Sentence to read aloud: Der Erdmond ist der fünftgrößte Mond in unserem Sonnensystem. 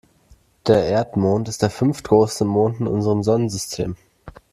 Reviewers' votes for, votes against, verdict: 1, 2, rejected